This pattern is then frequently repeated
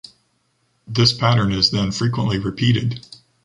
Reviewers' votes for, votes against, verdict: 2, 0, accepted